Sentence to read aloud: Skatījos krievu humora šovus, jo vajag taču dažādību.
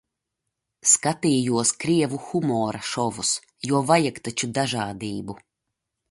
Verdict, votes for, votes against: accepted, 2, 0